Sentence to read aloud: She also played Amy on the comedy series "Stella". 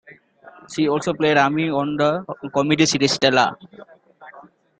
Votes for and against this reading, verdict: 2, 0, accepted